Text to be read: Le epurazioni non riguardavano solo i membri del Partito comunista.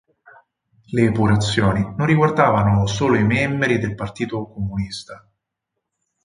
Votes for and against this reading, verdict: 4, 0, accepted